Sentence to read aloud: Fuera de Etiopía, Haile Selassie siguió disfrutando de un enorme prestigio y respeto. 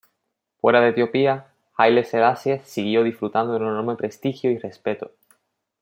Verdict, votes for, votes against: accepted, 2, 0